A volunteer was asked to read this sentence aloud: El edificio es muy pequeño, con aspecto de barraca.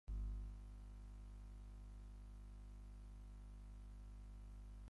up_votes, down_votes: 0, 2